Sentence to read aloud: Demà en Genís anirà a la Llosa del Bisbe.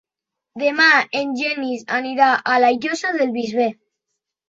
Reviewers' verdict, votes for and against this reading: rejected, 0, 2